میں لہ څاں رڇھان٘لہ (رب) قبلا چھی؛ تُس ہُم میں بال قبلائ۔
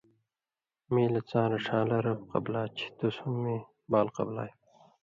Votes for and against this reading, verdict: 2, 0, accepted